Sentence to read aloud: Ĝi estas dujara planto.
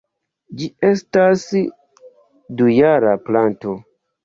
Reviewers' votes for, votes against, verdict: 1, 2, rejected